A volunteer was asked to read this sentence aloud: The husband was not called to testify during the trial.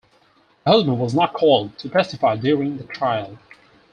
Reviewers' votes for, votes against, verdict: 2, 4, rejected